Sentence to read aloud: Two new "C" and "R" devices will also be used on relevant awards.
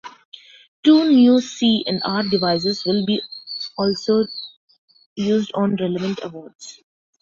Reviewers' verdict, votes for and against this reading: rejected, 1, 2